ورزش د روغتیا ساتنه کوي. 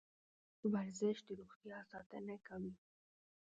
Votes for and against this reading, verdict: 0, 2, rejected